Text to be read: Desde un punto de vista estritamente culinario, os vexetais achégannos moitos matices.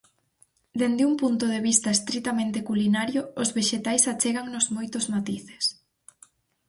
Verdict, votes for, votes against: rejected, 0, 6